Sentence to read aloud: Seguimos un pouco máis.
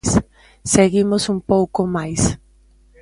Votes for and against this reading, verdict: 0, 2, rejected